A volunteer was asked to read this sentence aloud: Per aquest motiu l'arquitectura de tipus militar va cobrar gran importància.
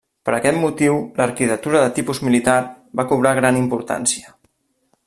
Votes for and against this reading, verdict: 0, 2, rejected